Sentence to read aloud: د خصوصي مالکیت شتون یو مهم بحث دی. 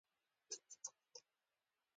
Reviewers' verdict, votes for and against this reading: rejected, 1, 2